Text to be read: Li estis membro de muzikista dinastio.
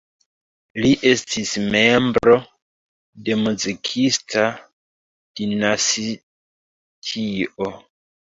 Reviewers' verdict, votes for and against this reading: rejected, 1, 2